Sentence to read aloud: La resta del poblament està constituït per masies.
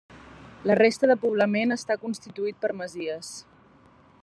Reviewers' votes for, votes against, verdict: 1, 2, rejected